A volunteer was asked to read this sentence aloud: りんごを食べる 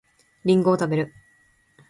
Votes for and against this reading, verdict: 2, 0, accepted